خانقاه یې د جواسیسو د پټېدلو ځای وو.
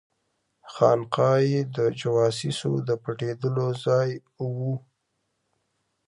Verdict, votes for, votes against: accepted, 2, 1